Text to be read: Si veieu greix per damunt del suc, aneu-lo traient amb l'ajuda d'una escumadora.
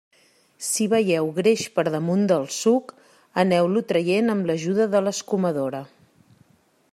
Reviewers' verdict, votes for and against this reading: rejected, 0, 2